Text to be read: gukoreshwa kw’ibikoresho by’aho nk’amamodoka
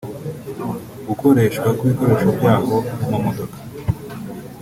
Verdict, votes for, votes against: accepted, 2, 1